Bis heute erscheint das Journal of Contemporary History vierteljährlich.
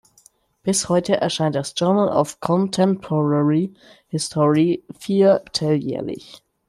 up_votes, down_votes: 2, 0